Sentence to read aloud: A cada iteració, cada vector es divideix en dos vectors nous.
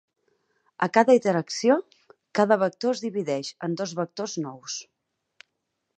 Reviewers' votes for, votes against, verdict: 2, 4, rejected